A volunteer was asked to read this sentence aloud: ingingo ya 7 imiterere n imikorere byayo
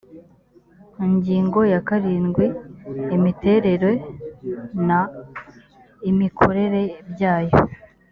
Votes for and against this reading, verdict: 0, 2, rejected